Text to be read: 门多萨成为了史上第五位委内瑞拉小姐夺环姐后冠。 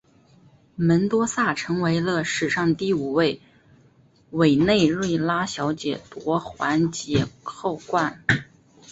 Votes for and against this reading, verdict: 3, 0, accepted